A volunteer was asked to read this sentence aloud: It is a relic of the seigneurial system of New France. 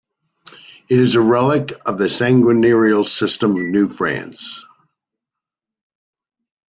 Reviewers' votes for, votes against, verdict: 2, 0, accepted